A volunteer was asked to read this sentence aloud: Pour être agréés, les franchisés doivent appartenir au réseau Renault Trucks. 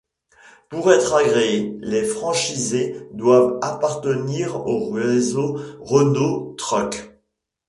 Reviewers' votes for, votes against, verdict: 2, 0, accepted